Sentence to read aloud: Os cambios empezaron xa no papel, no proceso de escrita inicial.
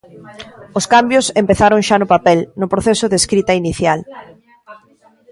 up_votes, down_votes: 2, 0